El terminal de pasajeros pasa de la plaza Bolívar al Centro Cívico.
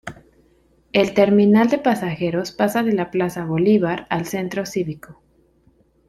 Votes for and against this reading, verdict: 2, 0, accepted